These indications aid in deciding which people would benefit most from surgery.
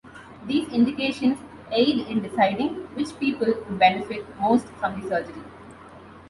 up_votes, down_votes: 2, 0